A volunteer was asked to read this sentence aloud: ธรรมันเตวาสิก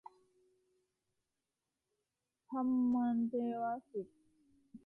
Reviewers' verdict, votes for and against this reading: rejected, 0, 2